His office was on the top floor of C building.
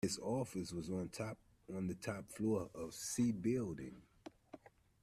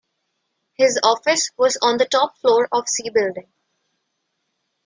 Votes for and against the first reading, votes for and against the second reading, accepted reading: 1, 2, 2, 0, second